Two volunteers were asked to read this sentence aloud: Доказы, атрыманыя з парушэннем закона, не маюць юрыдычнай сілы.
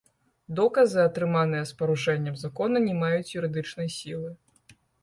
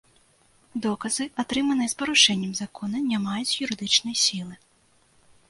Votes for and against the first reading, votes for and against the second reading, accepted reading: 1, 2, 3, 0, second